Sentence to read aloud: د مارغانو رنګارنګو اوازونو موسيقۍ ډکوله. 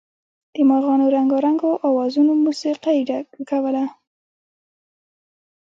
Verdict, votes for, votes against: rejected, 1, 2